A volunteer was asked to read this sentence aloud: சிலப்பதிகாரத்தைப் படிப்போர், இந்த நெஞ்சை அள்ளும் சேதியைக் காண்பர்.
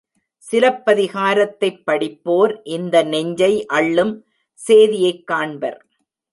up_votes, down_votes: 1, 2